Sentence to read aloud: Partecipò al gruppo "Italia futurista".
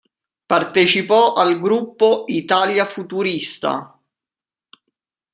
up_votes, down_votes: 2, 0